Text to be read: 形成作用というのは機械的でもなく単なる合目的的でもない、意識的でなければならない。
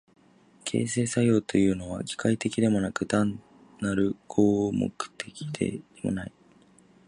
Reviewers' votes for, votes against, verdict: 1, 8, rejected